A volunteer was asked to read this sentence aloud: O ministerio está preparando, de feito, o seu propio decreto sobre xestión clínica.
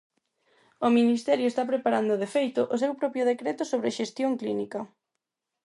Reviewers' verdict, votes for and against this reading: accepted, 4, 0